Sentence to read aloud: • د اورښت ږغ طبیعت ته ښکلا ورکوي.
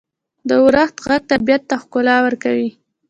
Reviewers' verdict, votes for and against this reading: rejected, 1, 2